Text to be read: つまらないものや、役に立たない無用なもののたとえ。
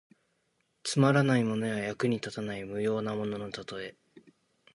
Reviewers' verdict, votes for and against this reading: accepted, 2, 0